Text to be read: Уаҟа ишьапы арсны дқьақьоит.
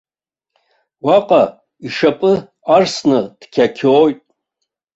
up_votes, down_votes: 2, 0